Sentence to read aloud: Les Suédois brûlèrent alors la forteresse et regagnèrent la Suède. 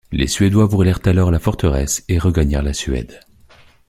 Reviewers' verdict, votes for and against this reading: accepted, 2, 0